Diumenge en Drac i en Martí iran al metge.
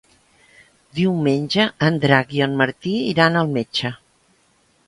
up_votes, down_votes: 3, 0